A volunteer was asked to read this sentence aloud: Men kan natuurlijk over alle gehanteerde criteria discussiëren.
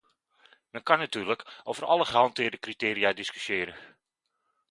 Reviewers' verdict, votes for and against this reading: accepted, 2, 0